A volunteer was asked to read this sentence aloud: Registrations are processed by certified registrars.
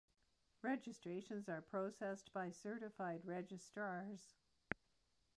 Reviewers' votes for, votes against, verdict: 0, 2, rejected